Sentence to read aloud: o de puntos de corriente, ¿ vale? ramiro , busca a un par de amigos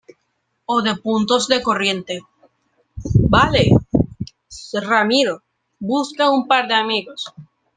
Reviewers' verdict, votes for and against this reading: rejected, 1, 2